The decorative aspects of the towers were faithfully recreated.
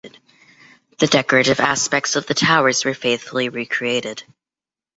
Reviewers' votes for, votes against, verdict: 2, 1, accepted